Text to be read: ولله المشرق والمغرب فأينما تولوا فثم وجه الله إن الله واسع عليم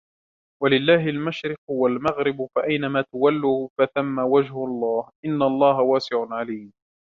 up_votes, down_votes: 2, 0